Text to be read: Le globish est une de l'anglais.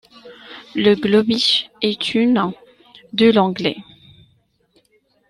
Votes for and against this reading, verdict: 2, 0, accepted